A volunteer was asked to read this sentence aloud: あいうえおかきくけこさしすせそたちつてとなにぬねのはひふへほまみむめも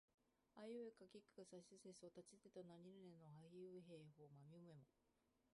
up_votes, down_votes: 0, 2